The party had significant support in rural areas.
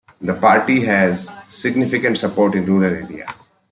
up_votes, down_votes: 1, 2